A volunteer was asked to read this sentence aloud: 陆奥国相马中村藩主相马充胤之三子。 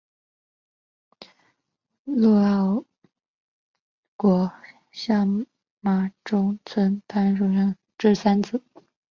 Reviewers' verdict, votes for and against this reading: rejected, 0, 3